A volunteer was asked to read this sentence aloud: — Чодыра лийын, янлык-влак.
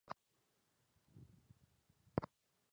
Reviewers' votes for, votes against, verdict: 0, 2, rejected